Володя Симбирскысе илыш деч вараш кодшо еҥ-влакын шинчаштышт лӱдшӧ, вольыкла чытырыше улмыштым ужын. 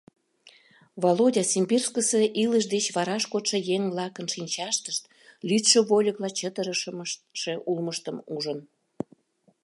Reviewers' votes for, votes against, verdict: 0, 2, rejected